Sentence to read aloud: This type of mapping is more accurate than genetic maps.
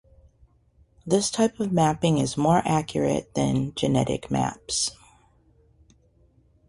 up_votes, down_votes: 2, 0